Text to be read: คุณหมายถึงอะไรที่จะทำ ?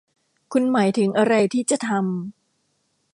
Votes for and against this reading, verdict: 2, 0, accepted